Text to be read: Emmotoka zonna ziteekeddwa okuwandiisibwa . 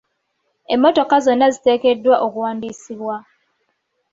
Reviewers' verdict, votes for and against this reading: accepted, 2, 0